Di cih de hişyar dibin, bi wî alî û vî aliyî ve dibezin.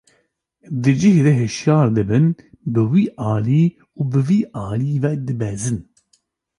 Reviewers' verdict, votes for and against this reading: accepted, 2, 0